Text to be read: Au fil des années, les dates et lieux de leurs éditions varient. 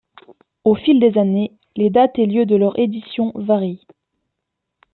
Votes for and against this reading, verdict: 1, 2, rejected